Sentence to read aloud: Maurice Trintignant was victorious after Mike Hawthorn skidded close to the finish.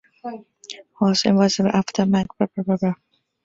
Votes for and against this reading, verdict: 0, 2, rejected